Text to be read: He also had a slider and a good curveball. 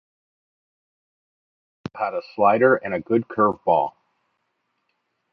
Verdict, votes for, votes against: rejected, 0, 2